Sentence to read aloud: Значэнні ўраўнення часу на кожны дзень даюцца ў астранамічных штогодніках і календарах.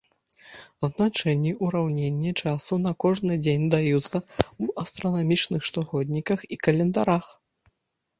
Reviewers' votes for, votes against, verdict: 1, 2, rejected